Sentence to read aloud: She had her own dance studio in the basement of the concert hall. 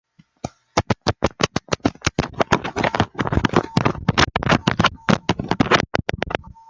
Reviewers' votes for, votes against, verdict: 0, 2, rejected